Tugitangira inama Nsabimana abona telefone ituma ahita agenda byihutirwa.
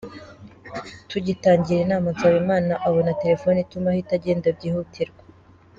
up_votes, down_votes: 2, 1